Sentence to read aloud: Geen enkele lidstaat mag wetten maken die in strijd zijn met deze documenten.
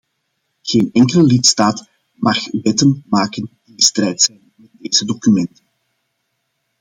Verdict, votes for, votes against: rejected, 0, 2